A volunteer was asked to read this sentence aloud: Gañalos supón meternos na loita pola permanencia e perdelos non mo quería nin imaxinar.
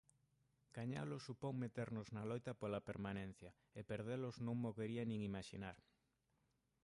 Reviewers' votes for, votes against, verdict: 0, 2, rejected